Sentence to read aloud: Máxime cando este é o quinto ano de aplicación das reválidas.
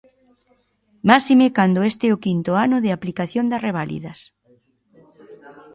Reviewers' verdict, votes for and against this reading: rejected, 0, 2